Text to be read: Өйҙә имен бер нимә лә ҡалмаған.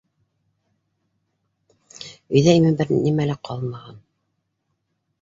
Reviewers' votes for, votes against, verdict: 2, 1, accepted